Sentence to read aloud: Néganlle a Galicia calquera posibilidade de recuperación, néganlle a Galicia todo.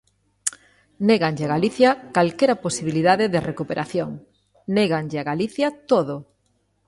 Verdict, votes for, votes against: accepted, 2, 0